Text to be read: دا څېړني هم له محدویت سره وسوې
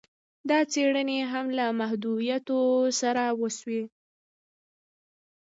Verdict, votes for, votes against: rejected, 0, 2